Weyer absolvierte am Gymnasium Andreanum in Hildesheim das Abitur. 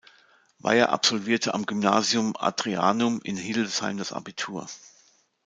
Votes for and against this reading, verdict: 1, 2, rejected